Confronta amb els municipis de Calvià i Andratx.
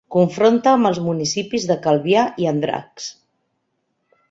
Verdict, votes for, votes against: accepted, 2, 0